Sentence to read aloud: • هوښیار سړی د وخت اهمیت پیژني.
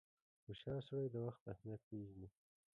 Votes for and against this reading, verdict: 0, 3, rejected